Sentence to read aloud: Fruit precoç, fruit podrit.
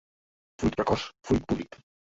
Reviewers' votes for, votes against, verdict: 0, 2, rejected